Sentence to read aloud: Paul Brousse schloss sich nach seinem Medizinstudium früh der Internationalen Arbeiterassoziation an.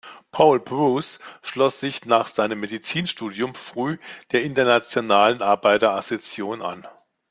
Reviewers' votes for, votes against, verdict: 1, 2, rejected